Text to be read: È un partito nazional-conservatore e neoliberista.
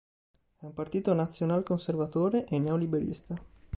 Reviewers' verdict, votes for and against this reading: accepted, 2, 0